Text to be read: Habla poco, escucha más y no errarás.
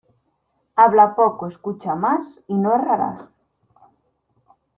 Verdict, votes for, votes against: accepted, 2, 0